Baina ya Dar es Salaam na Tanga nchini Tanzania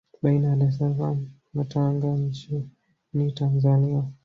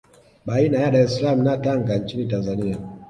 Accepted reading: second